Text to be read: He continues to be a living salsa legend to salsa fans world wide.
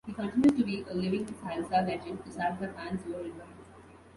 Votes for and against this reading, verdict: 1, 2, rejected